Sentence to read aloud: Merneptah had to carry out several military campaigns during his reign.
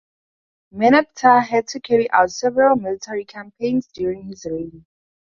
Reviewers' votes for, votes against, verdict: 2, 0, accepted